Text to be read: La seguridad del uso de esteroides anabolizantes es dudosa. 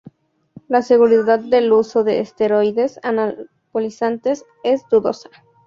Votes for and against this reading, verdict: 2, 0, accepted